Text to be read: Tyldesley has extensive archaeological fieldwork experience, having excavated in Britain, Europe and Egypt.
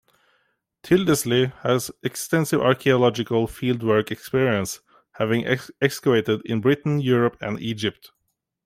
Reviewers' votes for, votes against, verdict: 2, 0, accepted